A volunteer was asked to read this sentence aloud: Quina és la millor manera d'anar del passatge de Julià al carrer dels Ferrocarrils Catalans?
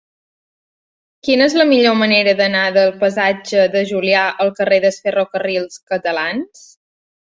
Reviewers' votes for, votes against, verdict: 2, 0, accepted